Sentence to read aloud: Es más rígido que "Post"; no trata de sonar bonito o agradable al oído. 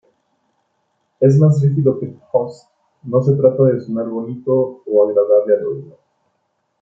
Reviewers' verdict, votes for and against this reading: rejected, 1, 2